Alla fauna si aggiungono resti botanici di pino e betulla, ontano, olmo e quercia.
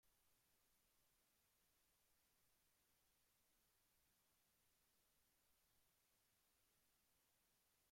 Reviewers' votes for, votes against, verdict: 0, 2, rejected